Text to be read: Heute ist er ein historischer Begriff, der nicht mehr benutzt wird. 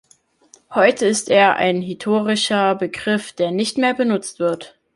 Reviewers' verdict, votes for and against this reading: rejected, 0, 2